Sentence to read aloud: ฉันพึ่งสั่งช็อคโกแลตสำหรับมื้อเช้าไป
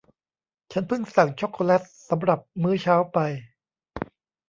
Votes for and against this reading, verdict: 0, 2, rejected